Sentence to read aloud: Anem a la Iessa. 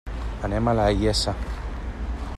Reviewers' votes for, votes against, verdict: 2, 1, accepted